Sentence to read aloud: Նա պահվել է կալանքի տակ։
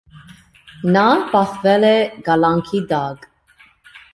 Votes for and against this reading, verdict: 2, 0, accepted